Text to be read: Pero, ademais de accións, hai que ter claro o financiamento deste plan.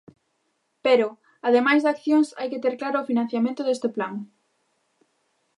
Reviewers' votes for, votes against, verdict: 2, 0, accepted